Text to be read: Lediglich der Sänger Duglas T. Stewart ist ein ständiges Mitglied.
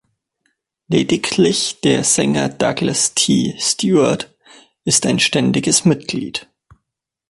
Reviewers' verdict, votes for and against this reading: rejected, 0, 2